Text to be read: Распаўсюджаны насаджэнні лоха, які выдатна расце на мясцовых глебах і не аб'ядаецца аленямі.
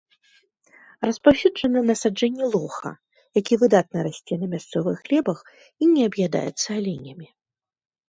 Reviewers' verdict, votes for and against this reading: accepted, 2, 0